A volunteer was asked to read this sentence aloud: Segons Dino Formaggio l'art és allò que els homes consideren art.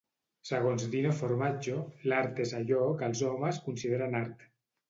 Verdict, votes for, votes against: accepted, 2, 0